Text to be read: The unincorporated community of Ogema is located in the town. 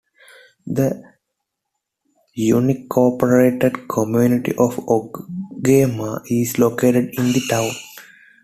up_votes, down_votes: 1, 2